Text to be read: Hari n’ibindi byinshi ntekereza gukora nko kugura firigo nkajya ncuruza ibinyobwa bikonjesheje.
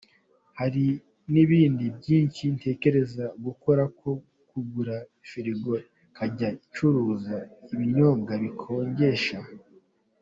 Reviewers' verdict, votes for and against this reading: rejected, 0, 2